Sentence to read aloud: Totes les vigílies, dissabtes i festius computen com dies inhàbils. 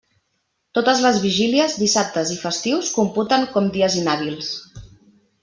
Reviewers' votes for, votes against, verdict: 3, 0, accepted